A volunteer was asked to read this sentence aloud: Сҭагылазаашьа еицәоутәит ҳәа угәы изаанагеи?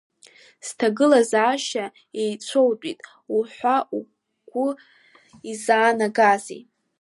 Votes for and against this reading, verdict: 0, 2, rejected